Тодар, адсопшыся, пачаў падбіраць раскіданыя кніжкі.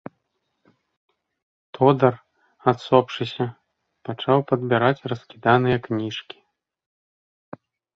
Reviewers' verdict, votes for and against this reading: accepted, 2, 0